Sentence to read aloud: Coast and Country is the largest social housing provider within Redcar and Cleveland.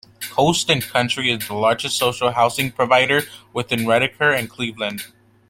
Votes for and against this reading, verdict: 2, 0, accepted